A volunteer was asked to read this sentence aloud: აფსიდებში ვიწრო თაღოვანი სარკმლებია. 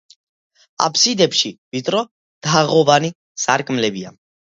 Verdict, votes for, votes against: accepted, 2, 0